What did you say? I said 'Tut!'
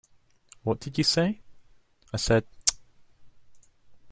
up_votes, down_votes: 2, 1